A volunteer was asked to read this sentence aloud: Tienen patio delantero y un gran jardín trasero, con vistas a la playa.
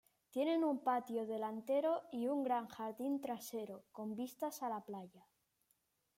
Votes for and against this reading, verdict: 1, 2, rejected